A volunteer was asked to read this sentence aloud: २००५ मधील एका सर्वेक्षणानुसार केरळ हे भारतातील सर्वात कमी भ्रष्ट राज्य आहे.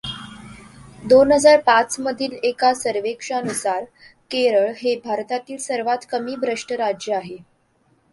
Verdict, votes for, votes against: rejected, 0, 2